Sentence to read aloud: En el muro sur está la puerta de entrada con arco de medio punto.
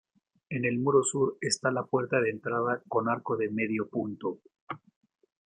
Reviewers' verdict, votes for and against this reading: accepted, 2, 0